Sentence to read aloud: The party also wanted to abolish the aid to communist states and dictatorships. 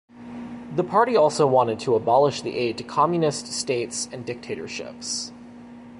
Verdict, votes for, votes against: accepted, 3, 0